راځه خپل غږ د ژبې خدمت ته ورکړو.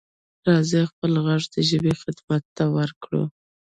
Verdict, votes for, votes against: accepted, 2, 1